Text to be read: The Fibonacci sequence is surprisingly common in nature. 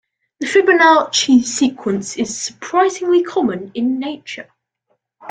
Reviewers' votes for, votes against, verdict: 2, 0, accepted